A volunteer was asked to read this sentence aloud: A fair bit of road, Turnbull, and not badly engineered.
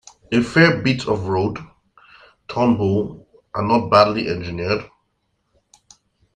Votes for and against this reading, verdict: 2, 0, accepted